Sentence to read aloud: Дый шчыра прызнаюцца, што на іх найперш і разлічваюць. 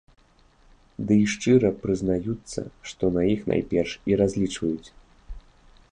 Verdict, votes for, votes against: accepted, 2, 0